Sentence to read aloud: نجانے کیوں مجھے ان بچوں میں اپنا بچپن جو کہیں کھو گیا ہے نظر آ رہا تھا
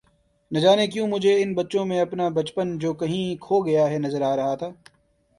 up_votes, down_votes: 2, 0